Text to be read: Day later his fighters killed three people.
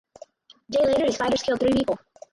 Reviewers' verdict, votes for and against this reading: rejected, 0, 4